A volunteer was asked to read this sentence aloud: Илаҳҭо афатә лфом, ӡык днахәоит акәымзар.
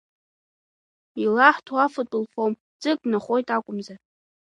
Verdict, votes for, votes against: accepted, 2, 0